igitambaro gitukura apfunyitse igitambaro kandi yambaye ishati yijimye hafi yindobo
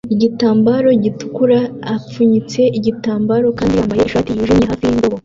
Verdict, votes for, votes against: accepted, 2, 1